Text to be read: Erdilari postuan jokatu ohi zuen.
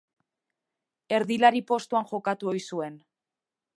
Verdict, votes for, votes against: accepted, 2, 0